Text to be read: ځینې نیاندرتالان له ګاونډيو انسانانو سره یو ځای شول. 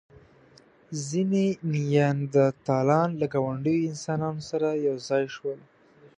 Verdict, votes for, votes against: accepted, 2, 0